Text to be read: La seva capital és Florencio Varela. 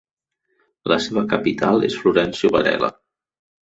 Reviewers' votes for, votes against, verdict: 4, 0, accepted